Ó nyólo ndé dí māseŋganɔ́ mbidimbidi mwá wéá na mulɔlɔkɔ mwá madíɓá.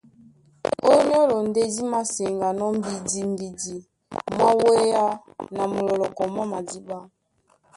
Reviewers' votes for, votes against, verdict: 1, 2, rejected